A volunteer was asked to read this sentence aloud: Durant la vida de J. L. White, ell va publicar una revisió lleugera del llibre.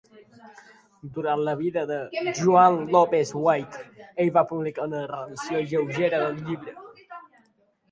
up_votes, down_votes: 2, 0